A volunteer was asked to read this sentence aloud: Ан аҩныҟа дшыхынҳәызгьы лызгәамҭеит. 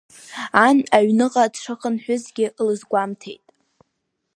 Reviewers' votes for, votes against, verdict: 3, 0, accepted